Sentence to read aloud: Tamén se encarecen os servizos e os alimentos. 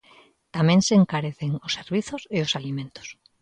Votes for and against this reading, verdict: 2, 0, accepted